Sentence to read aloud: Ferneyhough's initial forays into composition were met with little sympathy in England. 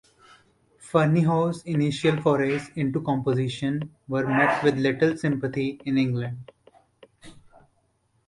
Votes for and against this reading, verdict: 2, 1, accepted